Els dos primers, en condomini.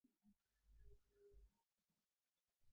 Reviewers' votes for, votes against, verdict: 1, 4, rejected